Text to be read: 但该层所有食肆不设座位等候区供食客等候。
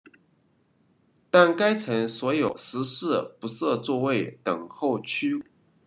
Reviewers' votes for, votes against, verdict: 0, 2, rejected